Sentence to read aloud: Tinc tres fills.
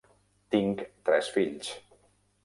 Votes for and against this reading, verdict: 3, 0, accepted